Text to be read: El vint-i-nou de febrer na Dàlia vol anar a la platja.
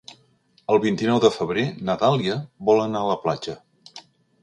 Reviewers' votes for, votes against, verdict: 3, 0, accepted